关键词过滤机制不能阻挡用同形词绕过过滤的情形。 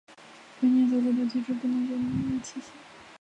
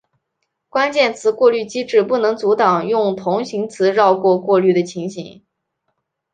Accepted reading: second